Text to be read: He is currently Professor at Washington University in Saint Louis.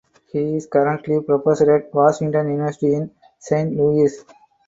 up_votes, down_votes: 4, 0